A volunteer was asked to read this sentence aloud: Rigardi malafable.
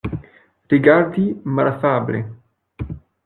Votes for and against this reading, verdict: 0, 2, rejected